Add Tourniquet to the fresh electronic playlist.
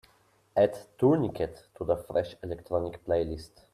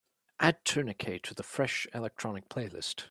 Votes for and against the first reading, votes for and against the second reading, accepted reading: 1, 2, 4, 0, second